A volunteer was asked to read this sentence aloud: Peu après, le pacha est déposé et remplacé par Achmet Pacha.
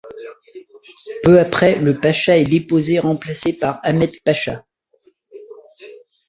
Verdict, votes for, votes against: rejected, 1, 2